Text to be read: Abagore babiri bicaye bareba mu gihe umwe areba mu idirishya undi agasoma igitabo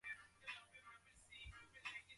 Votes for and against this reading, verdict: 0, 2, rejected